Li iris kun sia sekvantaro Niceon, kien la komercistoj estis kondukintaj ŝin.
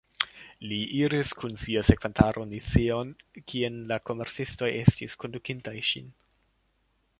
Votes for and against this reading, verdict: 0, 2, rejected